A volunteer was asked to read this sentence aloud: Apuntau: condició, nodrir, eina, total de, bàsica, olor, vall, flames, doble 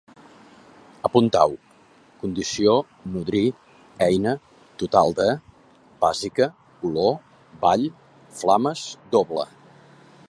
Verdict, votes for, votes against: accepted, 2, 0